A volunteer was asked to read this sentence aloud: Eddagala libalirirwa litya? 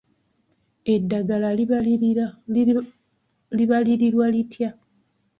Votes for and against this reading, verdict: 1, 2, rejected